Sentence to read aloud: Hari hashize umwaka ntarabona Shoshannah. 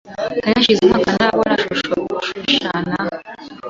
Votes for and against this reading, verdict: 1, 2, rejected